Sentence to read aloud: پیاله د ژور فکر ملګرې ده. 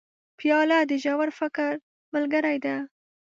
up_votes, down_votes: 0, 2